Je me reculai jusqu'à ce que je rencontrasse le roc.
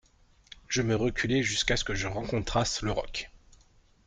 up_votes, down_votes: 2, 0